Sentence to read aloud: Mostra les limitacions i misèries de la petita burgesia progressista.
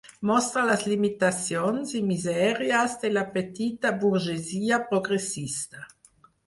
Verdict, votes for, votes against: accepted, 4, 0